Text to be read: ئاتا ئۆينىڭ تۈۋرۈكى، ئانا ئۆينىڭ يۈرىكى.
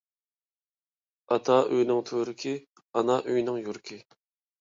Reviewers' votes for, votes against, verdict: 2, 0, accepted